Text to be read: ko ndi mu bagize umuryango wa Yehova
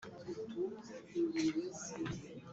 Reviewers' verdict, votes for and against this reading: rejected, 0, 3